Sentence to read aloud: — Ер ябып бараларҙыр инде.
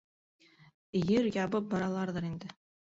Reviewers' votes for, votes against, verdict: 0, 2, rejected